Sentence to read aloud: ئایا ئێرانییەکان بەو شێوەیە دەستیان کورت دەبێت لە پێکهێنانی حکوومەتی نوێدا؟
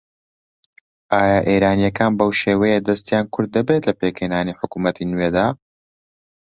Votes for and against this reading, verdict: 2, 0, accepted